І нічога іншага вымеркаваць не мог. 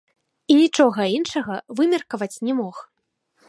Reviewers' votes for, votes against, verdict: 2, 1, accepted